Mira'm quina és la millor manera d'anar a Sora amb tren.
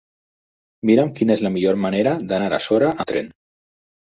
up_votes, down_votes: 0, 4